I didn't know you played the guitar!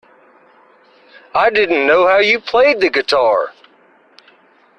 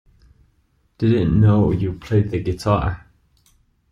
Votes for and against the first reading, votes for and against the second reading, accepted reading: 1, 2, 2, 0, second